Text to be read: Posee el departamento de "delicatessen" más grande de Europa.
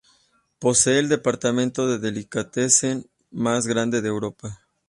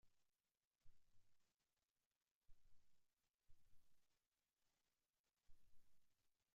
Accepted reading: first